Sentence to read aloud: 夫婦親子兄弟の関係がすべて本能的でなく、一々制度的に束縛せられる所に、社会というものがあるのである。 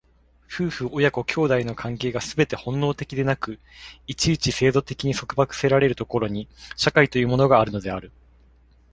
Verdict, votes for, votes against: accepted, 2, 0